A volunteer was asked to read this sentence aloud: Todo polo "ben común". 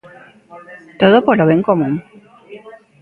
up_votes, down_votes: 0, 2